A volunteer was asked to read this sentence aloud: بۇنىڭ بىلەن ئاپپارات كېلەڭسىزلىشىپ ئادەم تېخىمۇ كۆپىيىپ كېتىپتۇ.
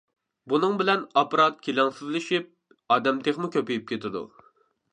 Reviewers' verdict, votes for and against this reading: rejected, 1, 2